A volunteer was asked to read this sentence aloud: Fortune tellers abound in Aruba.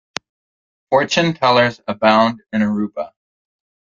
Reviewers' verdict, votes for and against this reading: accepted, 2, 0